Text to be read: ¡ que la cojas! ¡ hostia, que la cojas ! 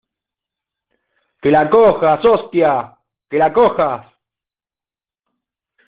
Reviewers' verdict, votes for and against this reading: accepted, 2, 1